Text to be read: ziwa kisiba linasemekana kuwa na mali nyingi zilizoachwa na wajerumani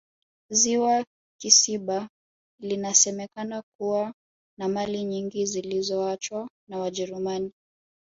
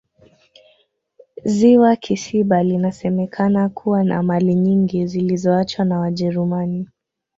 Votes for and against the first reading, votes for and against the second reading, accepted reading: 1, 2, 2, 0, second